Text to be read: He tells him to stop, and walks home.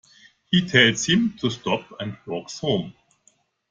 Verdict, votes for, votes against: accepted, 2, 1